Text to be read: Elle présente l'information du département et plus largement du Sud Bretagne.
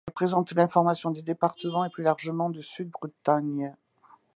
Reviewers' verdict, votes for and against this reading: accepted, 2, 1